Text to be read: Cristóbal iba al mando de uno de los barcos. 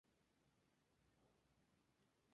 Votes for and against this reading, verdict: 0, 2, rejected